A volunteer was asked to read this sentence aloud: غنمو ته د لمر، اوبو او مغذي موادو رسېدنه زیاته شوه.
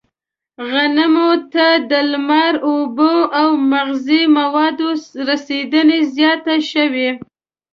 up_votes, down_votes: 1, 2